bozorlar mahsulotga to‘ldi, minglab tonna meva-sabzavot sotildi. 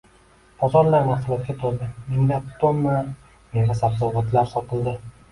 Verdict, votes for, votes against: accepted, 2, 1